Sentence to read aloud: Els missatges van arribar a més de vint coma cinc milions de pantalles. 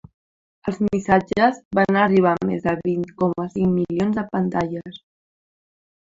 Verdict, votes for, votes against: accepted, 3, 0